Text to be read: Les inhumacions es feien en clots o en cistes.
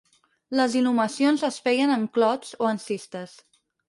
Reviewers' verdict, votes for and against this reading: accepted, 4, 0